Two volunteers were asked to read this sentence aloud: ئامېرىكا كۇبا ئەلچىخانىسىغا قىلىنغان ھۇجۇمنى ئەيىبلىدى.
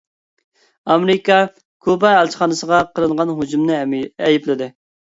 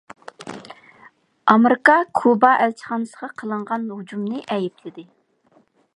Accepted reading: second